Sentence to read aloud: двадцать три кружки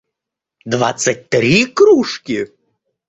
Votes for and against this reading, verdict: 2, 0, accepted